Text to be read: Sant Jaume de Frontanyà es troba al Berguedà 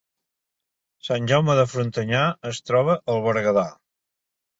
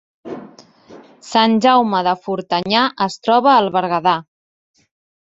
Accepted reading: first